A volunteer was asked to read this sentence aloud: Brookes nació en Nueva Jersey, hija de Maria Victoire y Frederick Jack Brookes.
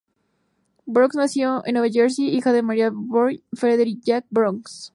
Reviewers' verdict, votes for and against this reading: accepted, 2, 0